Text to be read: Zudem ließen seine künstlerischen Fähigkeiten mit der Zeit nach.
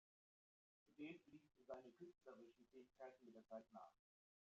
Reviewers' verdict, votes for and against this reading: rejected, 0, 2